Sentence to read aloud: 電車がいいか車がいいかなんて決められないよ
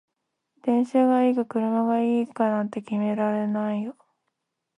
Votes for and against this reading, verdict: 0, 2, rejected